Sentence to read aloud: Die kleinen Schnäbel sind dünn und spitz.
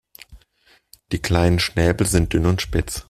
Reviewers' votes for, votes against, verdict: 2, 0, accepted